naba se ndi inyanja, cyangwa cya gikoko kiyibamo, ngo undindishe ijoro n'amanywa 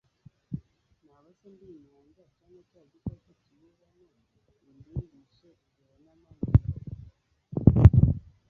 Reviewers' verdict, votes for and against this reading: rejected, 1, 2